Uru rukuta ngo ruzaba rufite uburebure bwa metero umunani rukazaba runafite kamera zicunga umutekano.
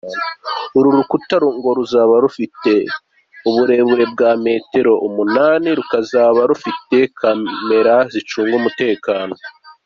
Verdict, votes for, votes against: accepted, 2, 0